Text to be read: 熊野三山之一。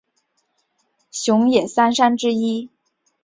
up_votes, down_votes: 3, 0